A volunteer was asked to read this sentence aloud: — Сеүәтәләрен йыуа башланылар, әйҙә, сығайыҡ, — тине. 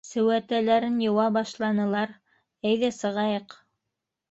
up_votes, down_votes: 1, 2